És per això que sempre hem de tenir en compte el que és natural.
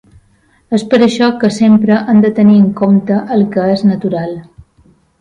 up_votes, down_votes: 4, 0